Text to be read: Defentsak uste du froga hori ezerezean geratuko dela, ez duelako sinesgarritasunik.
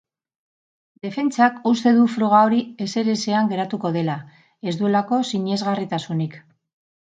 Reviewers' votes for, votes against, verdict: 2, 0, accepted